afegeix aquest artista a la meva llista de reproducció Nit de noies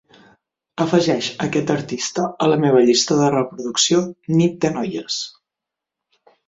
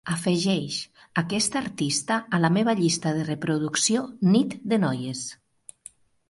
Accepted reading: second